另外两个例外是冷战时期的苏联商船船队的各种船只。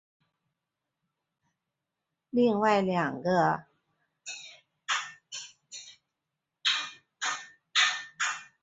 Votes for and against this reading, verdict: 0, 2, rejected